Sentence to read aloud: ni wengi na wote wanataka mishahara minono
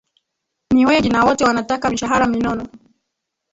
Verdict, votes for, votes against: accepted, 2, 1